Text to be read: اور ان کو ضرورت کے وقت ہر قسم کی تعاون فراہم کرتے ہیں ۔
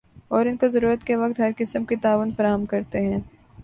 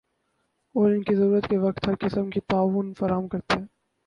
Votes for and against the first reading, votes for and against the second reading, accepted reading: 4, 0, 4, 6, first